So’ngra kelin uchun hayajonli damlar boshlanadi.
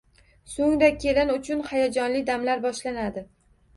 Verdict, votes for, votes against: rejected, 1, 2